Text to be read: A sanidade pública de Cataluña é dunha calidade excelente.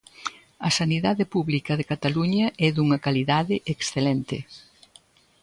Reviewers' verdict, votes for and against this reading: accepted, 2, 0